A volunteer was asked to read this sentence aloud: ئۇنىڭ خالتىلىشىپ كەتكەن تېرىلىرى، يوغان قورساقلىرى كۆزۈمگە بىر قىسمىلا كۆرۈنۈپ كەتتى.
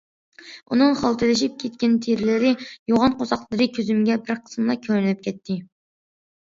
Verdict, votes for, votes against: accepted, 2, 0